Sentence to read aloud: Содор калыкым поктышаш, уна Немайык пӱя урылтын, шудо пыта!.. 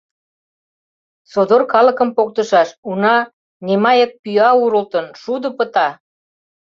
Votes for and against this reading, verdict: 2, 0, accepted